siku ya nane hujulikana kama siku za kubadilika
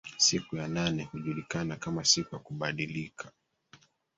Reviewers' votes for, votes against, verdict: 0, 3, rejected